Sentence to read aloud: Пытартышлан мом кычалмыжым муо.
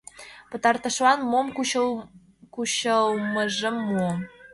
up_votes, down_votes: 1, 2